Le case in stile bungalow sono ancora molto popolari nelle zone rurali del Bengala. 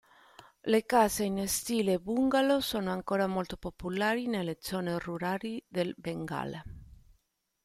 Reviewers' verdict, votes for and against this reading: rejected, 1, 2